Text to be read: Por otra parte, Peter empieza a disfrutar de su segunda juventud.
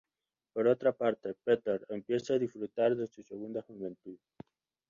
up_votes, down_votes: 0, 2